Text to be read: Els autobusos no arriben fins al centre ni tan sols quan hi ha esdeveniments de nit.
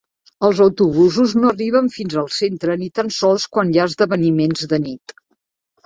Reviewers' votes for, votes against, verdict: 3, 0, accepted